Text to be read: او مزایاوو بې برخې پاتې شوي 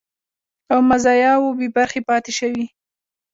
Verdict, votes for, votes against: accepted, 2, 1